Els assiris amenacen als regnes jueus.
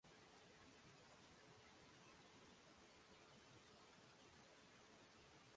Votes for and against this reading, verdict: 1, 2, rejected